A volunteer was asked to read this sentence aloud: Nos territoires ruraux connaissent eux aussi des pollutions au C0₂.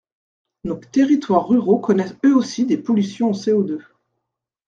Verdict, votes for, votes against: rejected, 0, 2